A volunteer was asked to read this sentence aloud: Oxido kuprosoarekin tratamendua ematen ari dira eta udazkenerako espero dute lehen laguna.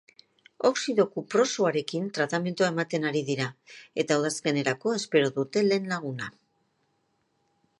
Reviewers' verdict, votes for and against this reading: rejected, 0, 2